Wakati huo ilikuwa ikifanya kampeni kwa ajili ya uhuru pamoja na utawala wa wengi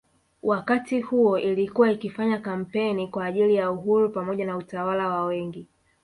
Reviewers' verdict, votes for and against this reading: accepted, 2, 0